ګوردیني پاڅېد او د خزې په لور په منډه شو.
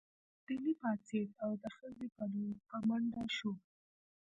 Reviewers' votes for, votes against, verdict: 1, 2, rejected